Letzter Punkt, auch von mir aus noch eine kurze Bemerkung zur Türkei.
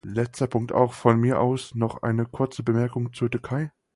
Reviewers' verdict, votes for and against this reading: accepted, 4, 0